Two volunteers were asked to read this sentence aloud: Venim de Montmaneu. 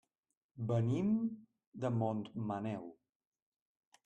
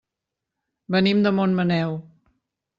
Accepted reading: second